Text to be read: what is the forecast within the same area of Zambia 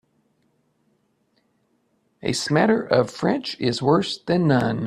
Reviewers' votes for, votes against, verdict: 0, 2, rejected